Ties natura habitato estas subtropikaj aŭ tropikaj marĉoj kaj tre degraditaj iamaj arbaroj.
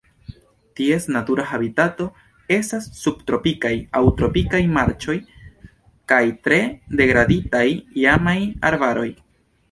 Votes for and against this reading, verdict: 3, 1, accepted